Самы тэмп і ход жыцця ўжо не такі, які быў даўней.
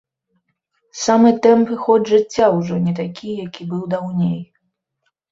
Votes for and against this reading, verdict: 2, 0, accepted